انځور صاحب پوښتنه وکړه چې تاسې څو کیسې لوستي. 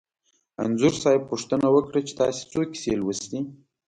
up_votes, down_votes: 2, 0